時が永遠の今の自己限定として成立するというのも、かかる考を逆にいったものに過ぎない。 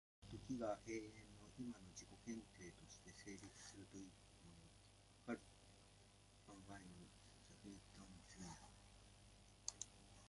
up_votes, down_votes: 0, 2